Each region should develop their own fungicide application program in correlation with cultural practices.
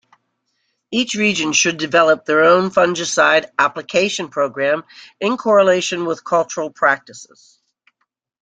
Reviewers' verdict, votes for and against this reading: accepted, 2, 1